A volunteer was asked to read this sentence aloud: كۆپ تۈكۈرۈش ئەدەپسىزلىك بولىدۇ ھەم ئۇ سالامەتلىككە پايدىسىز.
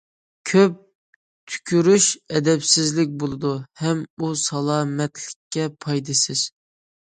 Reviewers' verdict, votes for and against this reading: accepted, 2, 0